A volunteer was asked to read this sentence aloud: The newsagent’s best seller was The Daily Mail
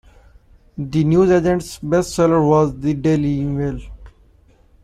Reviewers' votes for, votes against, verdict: 1, 2, rejected